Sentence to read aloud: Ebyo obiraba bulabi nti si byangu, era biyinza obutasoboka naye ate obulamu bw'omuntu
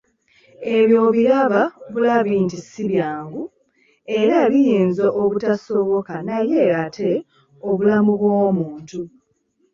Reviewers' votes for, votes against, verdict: 2, 0, accepted